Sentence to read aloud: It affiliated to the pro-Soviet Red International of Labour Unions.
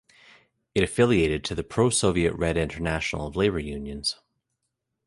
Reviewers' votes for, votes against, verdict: 2, 0, accepted